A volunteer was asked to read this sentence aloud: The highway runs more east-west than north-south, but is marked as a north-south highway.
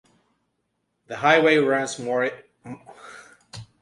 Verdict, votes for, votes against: rejected, 0, 2